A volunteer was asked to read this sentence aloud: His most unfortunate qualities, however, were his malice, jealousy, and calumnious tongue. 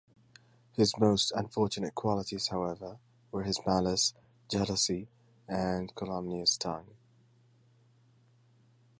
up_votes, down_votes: 2, 0